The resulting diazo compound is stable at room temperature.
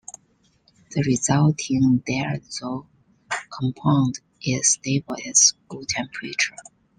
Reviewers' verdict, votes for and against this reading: rejected, 0, 2